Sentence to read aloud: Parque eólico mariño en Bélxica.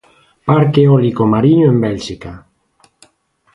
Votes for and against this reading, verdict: 2, 0, accepted